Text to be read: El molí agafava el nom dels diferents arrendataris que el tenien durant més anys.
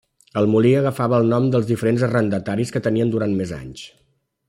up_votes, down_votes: 0, 2